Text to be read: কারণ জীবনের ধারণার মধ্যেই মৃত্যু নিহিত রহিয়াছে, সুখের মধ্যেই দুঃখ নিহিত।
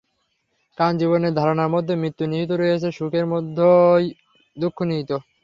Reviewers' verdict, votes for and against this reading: accepted, 3, 0